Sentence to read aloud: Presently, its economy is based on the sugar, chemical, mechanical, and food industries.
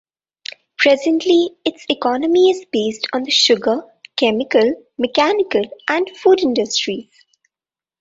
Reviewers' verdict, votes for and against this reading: rejected, 1, 2